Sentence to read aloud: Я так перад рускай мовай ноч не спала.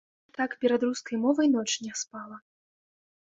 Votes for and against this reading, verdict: 0, 2, rejected